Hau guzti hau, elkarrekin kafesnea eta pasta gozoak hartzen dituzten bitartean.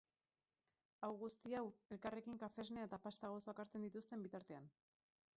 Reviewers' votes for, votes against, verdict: 2, 4, rejected